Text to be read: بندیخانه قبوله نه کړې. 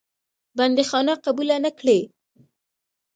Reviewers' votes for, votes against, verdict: 2, 1, accepted